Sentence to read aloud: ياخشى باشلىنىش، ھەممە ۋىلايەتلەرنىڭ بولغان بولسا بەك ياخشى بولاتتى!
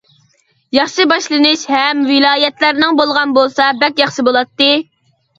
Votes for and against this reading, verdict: 0, 2, rejected